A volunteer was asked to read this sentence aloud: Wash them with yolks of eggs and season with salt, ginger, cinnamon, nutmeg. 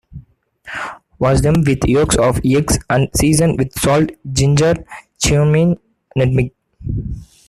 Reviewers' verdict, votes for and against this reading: rejected, 0, 2